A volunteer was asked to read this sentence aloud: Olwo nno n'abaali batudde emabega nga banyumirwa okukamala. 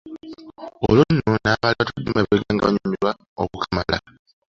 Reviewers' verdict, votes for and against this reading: accepted, 2, 0